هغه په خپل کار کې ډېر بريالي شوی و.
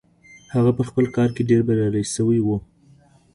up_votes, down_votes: 2, 1